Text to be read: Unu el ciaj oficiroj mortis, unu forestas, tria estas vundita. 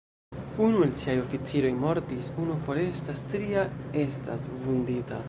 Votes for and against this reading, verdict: 0, 2, rejected